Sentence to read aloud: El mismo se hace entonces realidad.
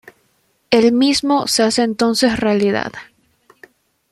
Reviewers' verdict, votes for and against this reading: accepted, 2, 0